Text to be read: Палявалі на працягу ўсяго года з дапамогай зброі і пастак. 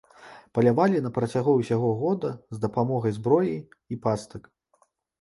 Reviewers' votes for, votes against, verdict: 2, 0, accepted